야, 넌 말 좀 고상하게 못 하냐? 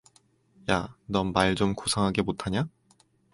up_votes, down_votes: 4, 0